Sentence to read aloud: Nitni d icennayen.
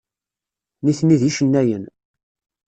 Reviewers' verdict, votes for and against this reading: accepted, 2, 0